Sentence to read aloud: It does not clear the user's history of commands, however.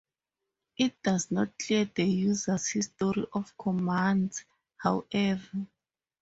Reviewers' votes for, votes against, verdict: 2, 2, rejected